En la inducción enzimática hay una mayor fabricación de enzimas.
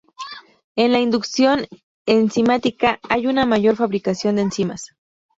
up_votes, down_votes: 2, 0